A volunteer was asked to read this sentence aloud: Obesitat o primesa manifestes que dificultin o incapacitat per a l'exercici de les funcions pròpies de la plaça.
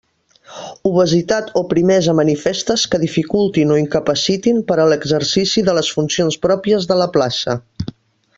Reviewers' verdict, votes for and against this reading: rejected, 0, 2